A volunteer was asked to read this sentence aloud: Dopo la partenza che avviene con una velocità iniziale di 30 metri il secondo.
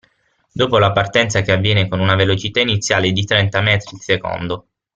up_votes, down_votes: 0, 2